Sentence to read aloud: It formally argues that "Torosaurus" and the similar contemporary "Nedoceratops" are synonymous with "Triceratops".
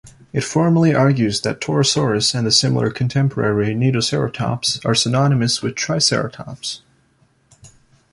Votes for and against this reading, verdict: 2, 0, accepted